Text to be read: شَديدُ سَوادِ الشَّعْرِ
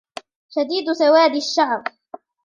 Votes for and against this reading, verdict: 2, 1, accepted